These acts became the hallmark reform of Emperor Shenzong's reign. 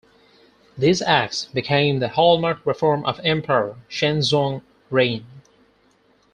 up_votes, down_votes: 0, 4